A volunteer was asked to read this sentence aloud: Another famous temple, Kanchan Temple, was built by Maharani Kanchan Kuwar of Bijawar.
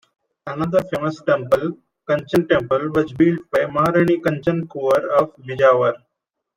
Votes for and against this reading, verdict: 0, 2, rejected